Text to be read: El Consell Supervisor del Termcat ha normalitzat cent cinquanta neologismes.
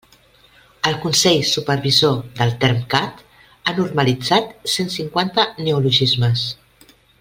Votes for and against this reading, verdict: 2, 0, accepted